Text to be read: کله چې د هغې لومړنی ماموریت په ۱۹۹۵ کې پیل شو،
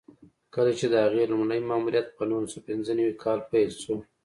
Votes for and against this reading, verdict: 0, 2, rejected